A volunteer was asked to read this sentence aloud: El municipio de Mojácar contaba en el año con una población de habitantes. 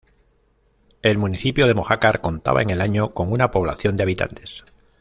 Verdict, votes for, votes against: accepted, 2, 0